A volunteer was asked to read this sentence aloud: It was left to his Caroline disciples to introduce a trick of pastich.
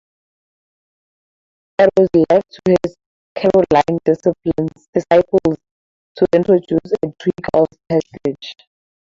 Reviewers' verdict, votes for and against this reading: rejected, 0, 2